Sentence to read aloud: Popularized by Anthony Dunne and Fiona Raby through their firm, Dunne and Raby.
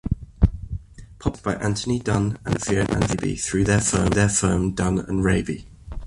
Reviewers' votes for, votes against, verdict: 1, 2, rejected